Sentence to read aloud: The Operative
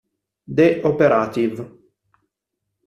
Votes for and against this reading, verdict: 1, 2, rejected